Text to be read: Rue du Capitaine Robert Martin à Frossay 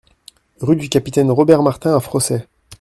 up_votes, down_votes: 2, 0